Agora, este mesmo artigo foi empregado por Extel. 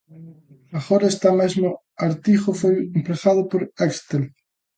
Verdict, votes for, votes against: rejected, 0, 2